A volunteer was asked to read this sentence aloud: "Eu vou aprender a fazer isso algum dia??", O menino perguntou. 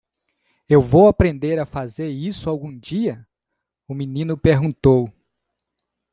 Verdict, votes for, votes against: accepted, 2, 0